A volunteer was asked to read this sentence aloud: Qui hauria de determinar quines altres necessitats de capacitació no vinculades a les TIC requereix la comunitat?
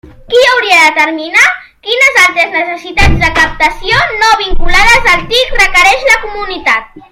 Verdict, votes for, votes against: rejected, 0, 2